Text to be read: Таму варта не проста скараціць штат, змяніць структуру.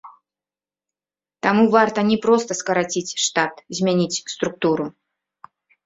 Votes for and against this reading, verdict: 0, 2, rejected